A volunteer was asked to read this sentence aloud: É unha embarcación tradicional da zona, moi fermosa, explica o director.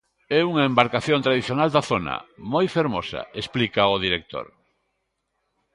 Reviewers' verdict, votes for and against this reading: accepted, 2, 0